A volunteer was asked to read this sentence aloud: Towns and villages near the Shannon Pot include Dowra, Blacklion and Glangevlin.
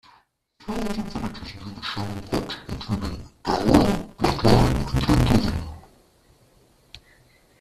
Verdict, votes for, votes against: rejected, 0, 2